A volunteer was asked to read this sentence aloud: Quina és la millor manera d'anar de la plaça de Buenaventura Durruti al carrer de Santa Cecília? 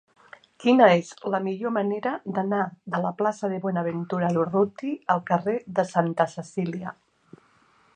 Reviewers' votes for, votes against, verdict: 2, 0, accepted